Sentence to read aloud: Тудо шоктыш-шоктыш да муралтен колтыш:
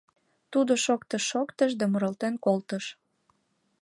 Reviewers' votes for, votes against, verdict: 3, 0, accepted